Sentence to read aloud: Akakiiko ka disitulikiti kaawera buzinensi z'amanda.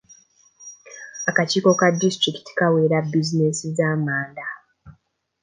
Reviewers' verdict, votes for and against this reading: accepted, 2, 0